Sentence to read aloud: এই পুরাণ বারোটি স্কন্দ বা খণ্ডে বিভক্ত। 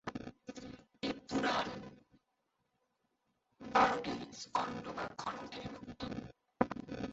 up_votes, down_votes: 0, 4